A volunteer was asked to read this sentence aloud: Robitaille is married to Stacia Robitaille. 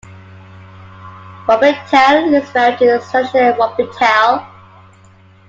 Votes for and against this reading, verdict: 0, 2, rejected